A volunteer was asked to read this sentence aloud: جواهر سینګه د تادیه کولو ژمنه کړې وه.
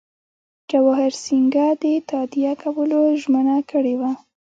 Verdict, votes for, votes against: rejected, 0, 2